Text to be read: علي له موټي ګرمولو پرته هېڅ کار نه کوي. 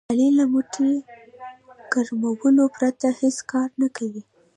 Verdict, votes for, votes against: rejected, 0, 2